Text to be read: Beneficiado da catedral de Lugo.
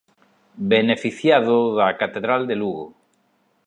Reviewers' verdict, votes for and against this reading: accepted, 2, 0